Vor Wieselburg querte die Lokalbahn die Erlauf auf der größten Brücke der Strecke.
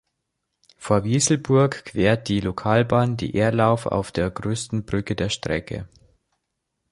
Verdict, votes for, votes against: rejected, 2, 3